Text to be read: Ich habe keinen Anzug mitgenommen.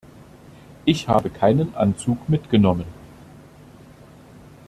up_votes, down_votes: 2, 0